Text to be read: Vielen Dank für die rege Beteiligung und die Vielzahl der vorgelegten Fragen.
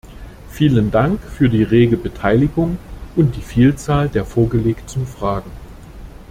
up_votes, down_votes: 2, 0